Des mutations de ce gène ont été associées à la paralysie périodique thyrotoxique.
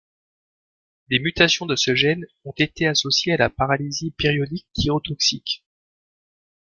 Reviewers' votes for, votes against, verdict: 2, 0, accepted